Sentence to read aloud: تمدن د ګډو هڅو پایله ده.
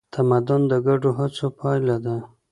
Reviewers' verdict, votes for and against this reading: accepted, 2, 0